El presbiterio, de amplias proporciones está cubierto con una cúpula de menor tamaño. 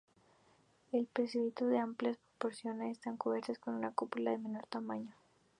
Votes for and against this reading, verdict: 0, 2, rejected